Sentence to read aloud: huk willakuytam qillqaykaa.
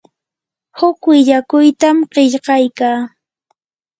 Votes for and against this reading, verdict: 2, 0, accepted